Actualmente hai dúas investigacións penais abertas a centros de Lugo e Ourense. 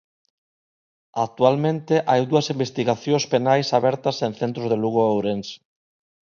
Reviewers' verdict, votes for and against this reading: rejected, 1, 2